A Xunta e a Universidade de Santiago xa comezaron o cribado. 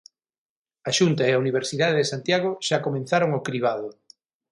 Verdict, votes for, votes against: rejected, 3, 3